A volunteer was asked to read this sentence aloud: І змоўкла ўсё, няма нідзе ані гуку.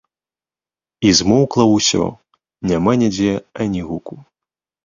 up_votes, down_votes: 2, 0